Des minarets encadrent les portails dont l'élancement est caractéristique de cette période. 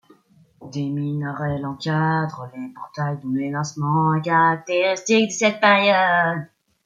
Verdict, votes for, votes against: rejected, 1, 2